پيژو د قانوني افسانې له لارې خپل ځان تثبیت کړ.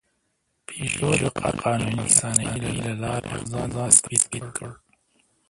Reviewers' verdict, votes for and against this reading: rejected, 0, 2